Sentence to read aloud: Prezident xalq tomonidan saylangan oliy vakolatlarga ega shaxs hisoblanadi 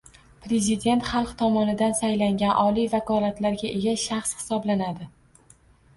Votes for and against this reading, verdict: 2, 0, accepted